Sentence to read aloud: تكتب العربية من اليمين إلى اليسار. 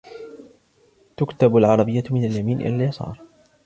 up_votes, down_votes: 2, 1